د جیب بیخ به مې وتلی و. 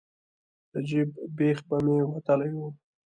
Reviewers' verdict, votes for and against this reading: accepted, 2, 0